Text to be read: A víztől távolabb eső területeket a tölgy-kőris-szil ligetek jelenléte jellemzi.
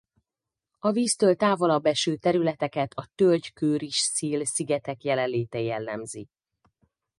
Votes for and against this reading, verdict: 0, 4, rejected